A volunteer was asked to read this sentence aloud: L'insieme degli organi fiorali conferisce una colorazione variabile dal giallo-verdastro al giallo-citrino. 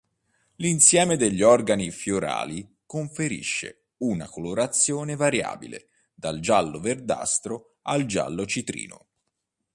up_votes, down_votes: 2, 0